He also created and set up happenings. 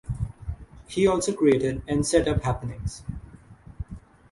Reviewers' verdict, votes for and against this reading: accepted, 6, 0